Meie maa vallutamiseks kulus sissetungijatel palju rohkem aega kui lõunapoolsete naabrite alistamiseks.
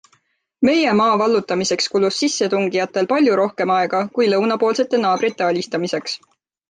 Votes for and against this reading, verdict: 3, 0, accepted